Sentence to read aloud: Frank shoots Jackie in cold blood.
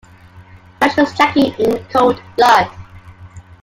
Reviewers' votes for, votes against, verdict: 0, 2, rejected